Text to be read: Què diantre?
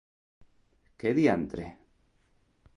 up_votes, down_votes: 2, 0